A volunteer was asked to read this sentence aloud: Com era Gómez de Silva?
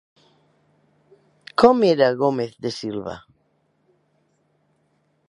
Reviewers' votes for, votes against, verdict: 3, 0, accepted